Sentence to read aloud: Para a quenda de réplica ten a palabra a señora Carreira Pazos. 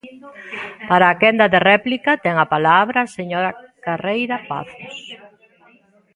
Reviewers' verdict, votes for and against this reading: accepted, 2, 0